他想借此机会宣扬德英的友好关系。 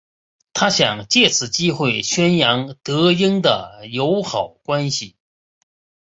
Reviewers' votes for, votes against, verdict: 2, 0, accepted